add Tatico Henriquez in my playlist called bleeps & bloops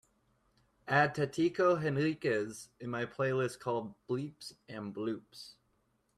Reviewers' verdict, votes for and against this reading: accepted, 2, 0